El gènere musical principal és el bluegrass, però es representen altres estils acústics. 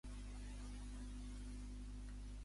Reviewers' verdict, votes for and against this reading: rejected, 1, 2